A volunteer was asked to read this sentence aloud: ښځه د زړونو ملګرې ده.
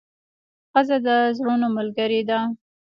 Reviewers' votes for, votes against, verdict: 2, 0, accepted